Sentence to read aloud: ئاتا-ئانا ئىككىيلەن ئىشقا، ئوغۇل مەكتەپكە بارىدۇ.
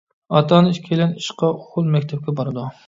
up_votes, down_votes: 0, 2